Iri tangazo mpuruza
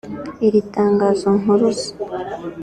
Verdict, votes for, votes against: accepted, 4, 0